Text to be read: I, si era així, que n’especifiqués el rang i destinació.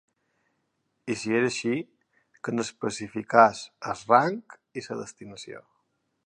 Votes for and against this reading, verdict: 1, 3, rejected